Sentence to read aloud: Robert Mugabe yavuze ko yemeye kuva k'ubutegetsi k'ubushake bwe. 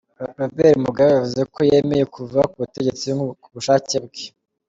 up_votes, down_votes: 2, 0